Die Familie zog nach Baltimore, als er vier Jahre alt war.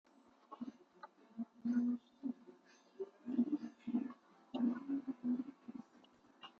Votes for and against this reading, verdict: 0, 2, rejected